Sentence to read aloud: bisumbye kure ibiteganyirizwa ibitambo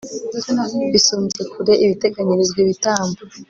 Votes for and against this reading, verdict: 2, 0, accepted